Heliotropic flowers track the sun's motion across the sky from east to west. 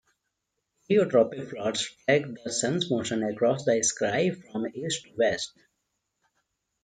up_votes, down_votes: 1, 2